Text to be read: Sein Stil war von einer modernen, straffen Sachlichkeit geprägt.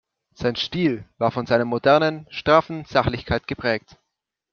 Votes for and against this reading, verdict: 0, 2, rejected